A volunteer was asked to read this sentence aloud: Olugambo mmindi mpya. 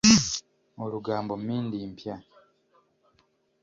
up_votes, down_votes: 2, 0